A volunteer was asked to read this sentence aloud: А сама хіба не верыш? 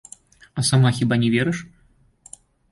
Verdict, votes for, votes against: accepted, 2, 1